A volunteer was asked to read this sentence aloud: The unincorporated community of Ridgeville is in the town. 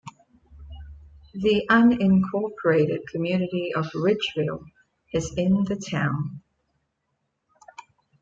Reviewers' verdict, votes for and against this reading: rejected, 1, 2